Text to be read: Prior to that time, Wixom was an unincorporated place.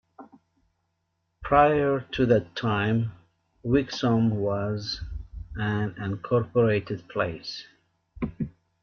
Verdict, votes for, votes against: rejected, 1, 2